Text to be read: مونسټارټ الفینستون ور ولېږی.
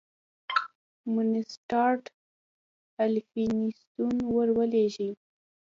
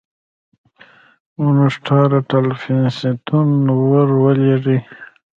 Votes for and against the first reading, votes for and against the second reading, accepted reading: 2, 1, 0, 2, first